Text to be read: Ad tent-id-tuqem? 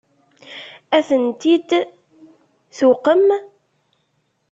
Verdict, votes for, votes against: rejected, 1, 2